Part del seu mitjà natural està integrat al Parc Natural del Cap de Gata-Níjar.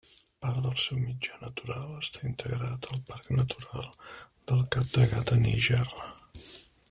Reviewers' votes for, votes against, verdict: 0, 2, rejected